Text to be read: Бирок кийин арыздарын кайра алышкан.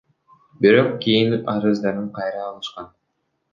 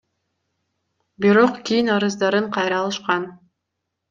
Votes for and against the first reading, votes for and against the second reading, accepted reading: 1, 2, 2, 0, second